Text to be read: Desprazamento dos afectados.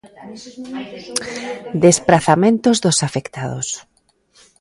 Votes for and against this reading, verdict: 1, 2, rejected